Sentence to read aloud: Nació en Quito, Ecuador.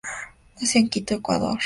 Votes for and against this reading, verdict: 2, 0, accepted